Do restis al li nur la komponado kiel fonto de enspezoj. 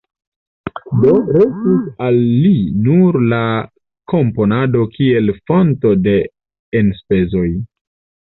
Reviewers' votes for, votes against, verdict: 0, 2, rejected